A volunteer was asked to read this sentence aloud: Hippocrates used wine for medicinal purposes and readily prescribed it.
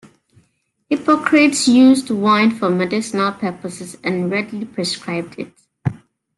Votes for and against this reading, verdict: 2, 0, accepted